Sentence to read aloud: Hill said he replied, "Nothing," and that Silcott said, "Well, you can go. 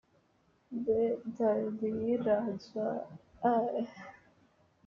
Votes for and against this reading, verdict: 0, 2, rejected